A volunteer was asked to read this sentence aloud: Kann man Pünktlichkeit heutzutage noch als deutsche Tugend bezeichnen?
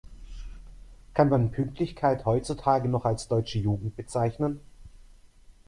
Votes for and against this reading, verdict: 0, 2, rejected